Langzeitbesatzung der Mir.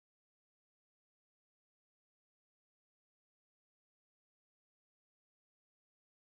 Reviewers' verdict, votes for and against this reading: rejected, 0, 2